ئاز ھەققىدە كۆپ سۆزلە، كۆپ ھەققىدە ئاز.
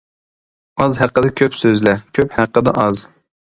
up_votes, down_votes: 2, 0